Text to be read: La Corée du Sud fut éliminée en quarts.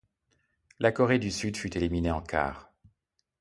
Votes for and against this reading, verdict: 2, 0, accepted